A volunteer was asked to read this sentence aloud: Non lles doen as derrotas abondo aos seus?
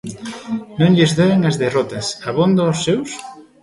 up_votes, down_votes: 2, 0